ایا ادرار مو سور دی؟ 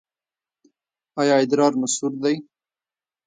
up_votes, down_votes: 1, 2